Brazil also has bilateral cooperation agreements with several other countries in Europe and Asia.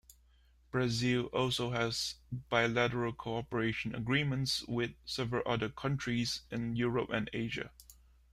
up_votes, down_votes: 2, 0